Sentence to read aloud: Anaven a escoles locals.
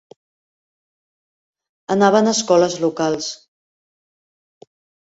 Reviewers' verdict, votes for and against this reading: accepted, 2, 0